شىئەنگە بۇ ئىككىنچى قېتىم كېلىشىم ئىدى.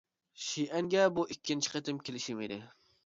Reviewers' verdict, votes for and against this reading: accepted, 2, 0